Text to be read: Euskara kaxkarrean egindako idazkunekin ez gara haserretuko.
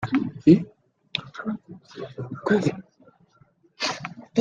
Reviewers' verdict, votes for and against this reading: rejected, 0, 2